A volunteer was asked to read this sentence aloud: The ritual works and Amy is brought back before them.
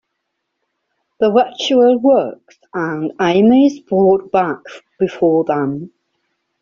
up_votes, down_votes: 2, 0